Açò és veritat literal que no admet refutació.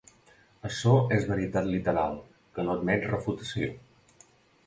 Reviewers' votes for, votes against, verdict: 2, 1, accepted